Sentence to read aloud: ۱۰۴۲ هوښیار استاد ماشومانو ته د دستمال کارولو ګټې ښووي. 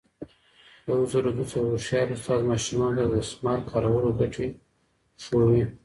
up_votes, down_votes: 0, 2